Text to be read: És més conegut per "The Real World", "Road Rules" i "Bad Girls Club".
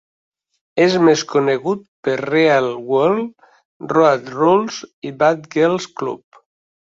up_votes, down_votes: 1, 2